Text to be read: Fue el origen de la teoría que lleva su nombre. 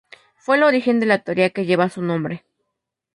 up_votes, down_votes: 2, 0